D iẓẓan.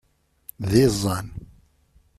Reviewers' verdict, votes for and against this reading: accepted, 2, 0